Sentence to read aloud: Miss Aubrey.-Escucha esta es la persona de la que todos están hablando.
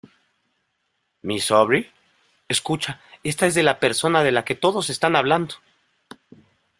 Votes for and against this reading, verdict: 1, 2, rejected